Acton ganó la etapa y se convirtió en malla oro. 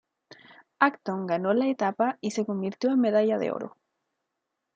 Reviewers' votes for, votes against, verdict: 1, 2, rejected